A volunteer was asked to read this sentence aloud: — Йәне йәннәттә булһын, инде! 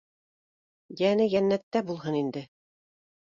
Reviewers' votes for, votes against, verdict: 2, 0, accepted